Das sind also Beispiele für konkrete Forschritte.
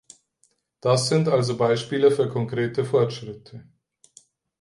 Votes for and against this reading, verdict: 4, 0, accepted